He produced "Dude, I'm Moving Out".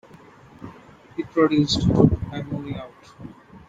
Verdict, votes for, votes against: accepted, 2, 0